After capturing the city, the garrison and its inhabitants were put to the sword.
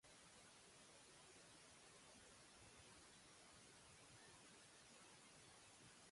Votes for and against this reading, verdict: 0, 2, rejected